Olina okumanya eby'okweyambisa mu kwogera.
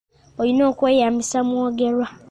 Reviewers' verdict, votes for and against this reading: rejected, 0, 2